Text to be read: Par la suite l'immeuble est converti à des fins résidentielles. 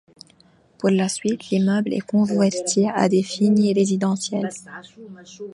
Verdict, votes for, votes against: rejected, 1, 2